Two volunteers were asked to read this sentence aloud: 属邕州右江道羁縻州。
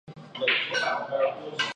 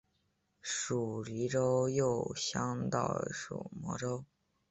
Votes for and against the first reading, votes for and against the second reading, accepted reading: 1, 3, 3, 1, second